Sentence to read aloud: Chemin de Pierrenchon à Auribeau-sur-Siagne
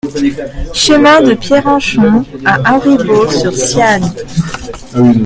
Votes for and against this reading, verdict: 0, 2, rejected